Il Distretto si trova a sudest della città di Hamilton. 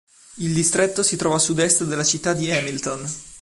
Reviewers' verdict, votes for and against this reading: accepted, 2, 0